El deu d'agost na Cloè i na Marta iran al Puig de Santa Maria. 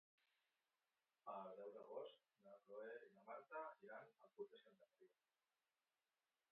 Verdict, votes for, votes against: rejected, 1, 2